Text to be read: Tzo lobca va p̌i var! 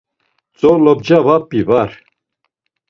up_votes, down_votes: 2, 0